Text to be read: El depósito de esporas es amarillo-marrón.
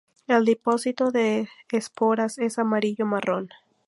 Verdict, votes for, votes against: accepted, 2, 0